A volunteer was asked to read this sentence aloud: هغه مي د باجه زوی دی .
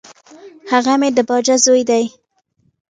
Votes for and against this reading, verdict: 2, 0, accepted